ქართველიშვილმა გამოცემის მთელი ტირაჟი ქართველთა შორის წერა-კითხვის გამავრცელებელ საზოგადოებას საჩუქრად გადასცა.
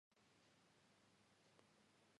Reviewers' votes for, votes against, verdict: 1, 2, rejected